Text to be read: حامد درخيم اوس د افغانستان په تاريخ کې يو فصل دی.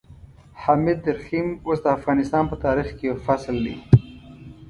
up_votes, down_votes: 2, 0